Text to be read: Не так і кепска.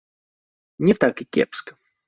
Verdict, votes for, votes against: accepted, 2, 1